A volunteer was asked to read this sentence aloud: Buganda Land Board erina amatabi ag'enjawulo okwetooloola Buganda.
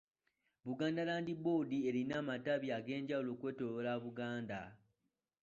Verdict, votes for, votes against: accepted, 2, 0